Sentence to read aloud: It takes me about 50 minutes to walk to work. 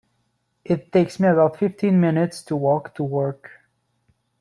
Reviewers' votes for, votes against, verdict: 0, 2, rejected